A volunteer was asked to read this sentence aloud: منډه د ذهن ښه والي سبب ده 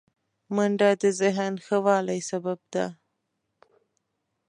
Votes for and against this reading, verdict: 0, 2, rejected